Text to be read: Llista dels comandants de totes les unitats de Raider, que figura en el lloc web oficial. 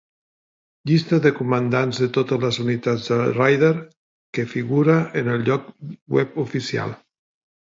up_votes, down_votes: 2, 0